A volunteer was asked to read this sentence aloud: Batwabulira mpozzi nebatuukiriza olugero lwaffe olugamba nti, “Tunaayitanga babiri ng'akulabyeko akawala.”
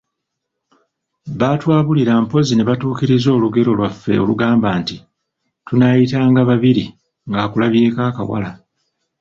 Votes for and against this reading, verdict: 2, 1, accepted